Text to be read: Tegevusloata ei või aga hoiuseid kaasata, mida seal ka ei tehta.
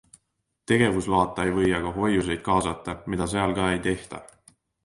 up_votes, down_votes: 2, 0